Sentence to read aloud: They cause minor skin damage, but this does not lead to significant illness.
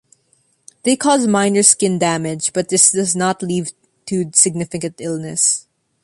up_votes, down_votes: 2, 1